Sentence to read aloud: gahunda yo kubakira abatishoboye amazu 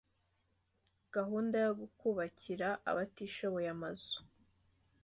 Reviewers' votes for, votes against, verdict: 2, 0, accepted